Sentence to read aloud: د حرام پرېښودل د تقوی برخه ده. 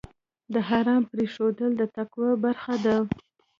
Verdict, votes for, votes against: rejected, 0, 2